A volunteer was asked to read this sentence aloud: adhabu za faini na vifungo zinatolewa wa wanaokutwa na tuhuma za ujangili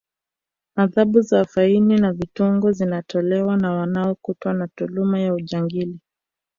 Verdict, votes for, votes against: rejected, 1, 2